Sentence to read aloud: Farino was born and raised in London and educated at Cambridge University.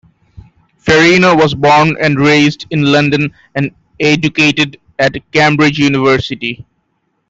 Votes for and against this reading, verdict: 1, 2, rejected